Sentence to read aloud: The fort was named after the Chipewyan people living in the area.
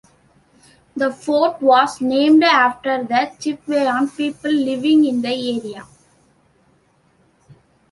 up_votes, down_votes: 2, 0